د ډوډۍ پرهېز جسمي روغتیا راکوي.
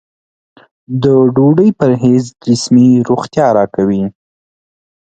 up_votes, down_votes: 2, 0